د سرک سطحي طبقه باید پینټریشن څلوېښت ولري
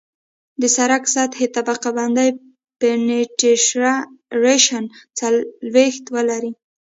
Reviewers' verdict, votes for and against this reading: rejected, 0, 2